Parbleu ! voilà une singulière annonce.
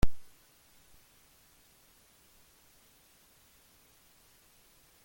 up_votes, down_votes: 0, 2